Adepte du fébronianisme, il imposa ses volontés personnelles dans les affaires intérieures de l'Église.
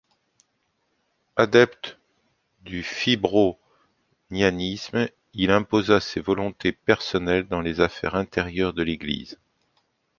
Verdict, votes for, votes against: accepted, 2, 0